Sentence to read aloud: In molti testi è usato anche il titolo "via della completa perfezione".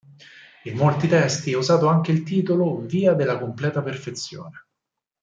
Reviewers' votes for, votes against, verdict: 4, 0, accepted